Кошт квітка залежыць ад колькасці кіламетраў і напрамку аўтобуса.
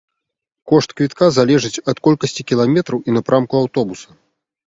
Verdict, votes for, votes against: accepted, 3, 0